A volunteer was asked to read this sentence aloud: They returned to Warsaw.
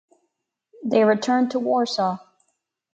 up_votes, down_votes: 2, 0